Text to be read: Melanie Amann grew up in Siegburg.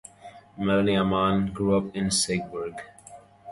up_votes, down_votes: 2, 0